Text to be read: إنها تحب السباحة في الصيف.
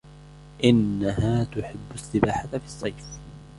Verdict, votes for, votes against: rejected, 0, 2